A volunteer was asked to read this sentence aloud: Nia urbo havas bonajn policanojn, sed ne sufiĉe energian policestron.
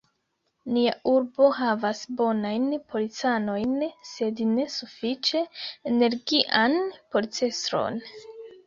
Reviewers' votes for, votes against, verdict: 2, 1, accepted